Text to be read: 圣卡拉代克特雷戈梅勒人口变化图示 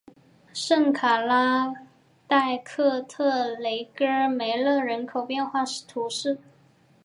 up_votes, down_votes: 9, 1